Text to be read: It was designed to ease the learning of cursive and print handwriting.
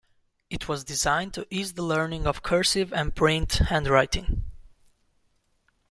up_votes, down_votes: 2, 0